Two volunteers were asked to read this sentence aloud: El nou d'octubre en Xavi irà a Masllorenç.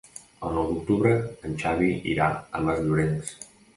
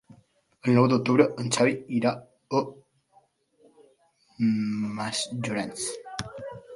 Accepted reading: first